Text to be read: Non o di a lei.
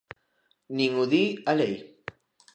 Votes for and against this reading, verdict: 0, 2, rejected